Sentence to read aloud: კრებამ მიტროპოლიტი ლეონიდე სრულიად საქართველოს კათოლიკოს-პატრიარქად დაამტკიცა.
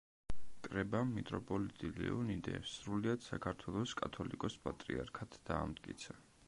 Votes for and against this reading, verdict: 2, 0, accepted